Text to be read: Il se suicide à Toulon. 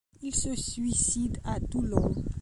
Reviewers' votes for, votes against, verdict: 2, 0, accepted